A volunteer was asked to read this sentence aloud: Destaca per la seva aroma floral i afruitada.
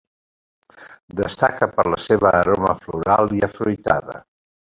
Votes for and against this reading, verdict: 2, 0, accepted